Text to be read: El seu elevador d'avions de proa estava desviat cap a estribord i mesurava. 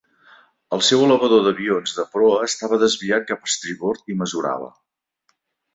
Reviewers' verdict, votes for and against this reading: accepted, 2, 0